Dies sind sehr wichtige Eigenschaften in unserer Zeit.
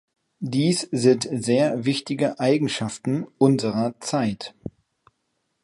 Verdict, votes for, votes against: rejected, 1, 3